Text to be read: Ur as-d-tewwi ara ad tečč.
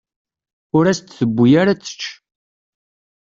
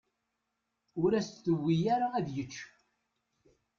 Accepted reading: first